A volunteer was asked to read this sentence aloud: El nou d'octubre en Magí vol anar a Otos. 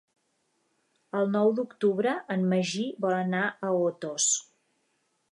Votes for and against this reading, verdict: 4, 0, accepted